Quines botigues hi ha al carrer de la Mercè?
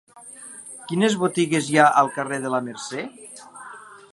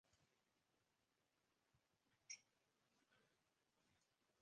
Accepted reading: first